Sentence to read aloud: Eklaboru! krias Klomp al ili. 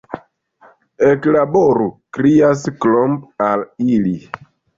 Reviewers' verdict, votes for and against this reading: rejected, 1, 2